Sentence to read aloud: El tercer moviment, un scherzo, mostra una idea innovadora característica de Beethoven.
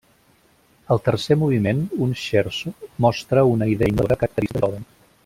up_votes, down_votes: 0, 2